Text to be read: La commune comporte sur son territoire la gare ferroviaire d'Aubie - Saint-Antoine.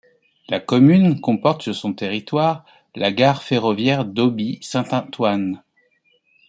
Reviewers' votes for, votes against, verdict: 0, 2, rejected